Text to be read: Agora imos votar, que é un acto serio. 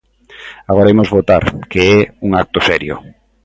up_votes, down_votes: 2, 0